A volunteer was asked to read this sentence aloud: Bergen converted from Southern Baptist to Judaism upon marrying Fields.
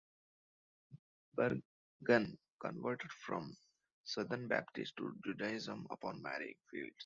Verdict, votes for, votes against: rejected, 0, 2